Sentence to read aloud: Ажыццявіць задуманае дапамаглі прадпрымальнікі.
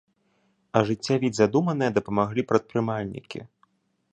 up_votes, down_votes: 3, 0